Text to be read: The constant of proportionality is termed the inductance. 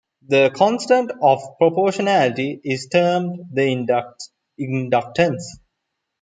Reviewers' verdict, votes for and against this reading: rejected, 0, 2